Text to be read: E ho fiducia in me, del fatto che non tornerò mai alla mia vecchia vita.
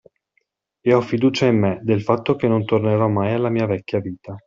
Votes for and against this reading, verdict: 2, 0, accepted